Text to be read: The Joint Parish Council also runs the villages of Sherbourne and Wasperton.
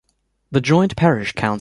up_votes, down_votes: 0, 2